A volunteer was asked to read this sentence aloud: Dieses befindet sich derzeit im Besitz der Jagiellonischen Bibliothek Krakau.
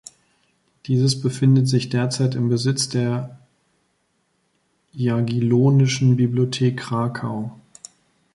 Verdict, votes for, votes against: rejected, 1, 2